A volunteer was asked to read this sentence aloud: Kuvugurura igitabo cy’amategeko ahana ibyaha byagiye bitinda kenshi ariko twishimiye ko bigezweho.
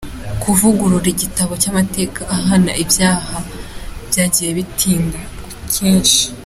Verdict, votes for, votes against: rejected, 0, 3